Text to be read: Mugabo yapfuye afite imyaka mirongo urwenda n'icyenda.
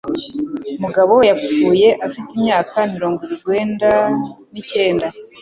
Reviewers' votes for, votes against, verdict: 2, 0, accepted